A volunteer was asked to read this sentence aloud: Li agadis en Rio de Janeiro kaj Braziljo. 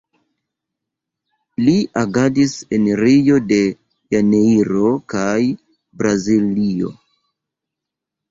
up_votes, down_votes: 1, 2